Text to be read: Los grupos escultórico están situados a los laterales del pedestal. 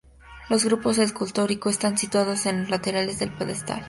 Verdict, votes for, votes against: rejected, 0, 2